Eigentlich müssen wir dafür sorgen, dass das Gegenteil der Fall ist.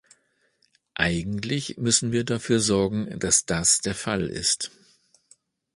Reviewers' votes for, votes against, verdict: 0, 2, rejected